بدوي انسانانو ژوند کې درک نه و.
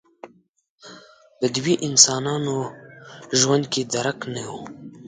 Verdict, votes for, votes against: rejected, 1, 2